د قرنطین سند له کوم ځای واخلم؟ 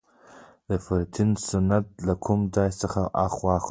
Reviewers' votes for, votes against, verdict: 0, 2, rejected